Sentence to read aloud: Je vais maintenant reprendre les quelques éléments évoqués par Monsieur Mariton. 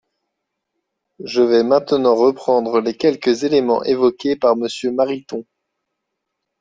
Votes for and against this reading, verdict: 2, 0, accepted